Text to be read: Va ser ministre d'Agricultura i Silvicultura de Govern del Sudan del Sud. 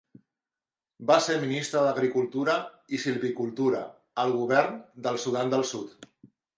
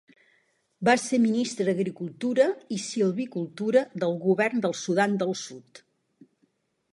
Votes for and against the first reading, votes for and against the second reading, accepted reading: 2, 0, 0, 2, first